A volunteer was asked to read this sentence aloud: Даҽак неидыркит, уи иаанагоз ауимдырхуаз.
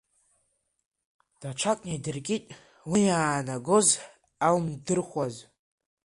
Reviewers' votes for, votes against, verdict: 3, 1, accepted